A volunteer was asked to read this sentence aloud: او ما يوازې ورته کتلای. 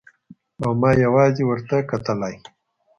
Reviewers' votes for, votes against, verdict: 2, 0, accepted